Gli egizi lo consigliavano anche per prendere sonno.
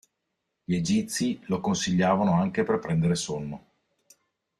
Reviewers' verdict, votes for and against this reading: accepted, 2, 0